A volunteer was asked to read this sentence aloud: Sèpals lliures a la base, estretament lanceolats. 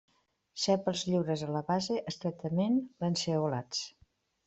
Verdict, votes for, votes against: accepted, 2, 0